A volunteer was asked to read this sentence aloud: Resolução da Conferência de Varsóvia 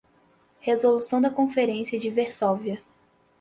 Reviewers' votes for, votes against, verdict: 2, 4, rejected